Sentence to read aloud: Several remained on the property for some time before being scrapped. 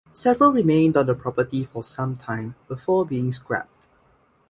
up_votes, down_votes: 2, 0